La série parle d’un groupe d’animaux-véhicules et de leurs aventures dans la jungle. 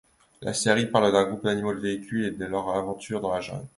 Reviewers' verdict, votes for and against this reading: rejected, 1, 2